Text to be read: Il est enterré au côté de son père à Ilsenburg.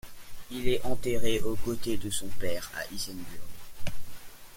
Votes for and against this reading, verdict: 2, 0, accepted